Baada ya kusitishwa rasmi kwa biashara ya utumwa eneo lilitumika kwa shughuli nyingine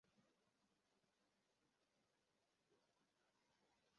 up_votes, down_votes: 0, 3